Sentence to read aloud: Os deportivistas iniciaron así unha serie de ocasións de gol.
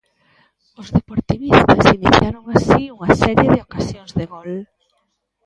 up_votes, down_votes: 1, 2